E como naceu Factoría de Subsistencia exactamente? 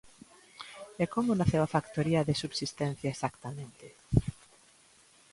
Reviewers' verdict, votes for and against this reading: rejected, 0, 2